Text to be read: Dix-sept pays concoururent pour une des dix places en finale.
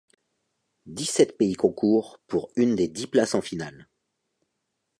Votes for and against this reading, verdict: 0, 2, rejected